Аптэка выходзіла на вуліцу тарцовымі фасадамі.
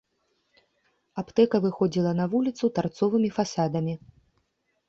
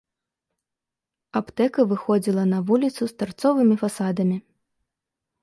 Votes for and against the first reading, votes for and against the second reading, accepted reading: 2, 0, 0, 3, first